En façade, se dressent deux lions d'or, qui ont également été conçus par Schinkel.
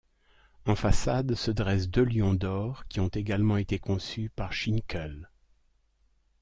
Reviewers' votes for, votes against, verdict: 2, 0, accepted